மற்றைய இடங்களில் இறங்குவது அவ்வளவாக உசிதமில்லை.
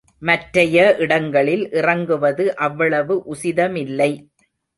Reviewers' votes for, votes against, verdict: 0, 2, rejected